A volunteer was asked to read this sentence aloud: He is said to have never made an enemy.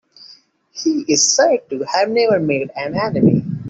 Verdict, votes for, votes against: accepted, 2, 0